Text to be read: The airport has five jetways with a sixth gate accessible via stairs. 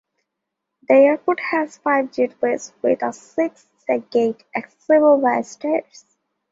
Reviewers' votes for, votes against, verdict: 2, 0, accepted